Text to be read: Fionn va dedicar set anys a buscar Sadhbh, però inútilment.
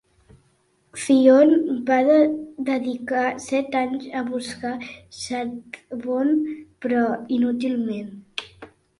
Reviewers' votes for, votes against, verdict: 1, 2, rejected